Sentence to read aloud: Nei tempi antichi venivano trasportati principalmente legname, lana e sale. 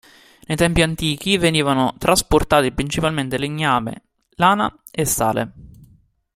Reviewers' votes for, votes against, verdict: 2, 0, accepted